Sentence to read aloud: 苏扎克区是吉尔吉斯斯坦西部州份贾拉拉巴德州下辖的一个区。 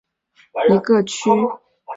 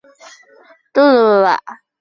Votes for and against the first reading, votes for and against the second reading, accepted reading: 2, 1, 1, 2, first